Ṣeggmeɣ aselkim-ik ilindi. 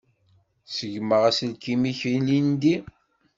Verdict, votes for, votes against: accepted, 2, 0